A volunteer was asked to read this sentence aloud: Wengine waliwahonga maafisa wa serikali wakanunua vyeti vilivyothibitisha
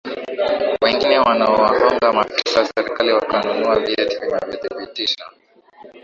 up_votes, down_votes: 1, 2